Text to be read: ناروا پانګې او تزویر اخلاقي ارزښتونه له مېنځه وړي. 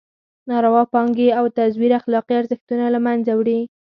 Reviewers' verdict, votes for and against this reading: accepted, 4, 0